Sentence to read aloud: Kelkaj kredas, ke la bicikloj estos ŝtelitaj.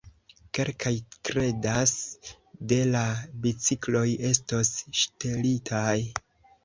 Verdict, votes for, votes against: accepted, 2, 0